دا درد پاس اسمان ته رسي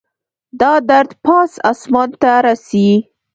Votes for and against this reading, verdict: 1, 2, rejected